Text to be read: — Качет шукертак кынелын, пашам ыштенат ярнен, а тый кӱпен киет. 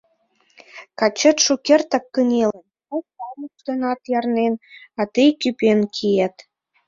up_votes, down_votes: 0, 2